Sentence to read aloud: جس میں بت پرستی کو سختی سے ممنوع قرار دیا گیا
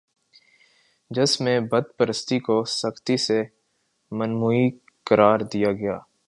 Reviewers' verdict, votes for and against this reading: rejected, 5, 6